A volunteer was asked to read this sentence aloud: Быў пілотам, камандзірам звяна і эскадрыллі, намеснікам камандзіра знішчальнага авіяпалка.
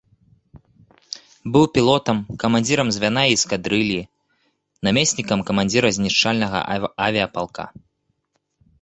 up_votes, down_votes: 1, 2